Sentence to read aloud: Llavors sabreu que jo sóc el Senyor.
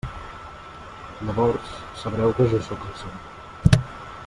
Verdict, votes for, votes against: rejected, 0, 2